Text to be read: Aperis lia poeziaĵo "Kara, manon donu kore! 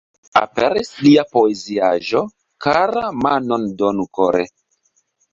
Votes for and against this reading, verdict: 2, 1, accepted